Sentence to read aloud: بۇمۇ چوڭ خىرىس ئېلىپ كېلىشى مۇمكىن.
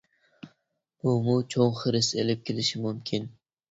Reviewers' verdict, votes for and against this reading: accepted, 2, 0